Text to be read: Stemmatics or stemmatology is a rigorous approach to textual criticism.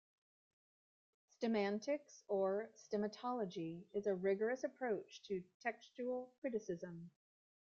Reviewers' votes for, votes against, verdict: 0, 2, rejected